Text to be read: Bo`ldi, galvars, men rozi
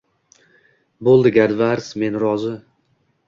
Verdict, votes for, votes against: accepted, 2, 0